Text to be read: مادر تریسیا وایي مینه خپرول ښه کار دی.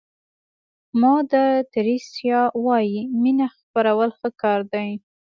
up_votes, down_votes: 2, 0